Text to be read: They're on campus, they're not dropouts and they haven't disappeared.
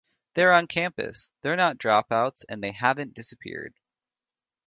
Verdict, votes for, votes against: accepted, 2, 0